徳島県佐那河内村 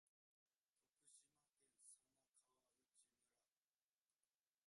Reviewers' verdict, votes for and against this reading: rejected, 0, 2